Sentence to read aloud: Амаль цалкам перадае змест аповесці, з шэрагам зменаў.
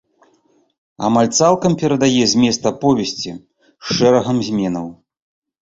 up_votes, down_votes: 2, 0